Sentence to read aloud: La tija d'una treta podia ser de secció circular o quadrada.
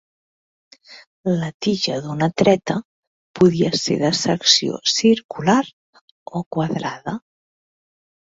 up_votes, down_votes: 3, 0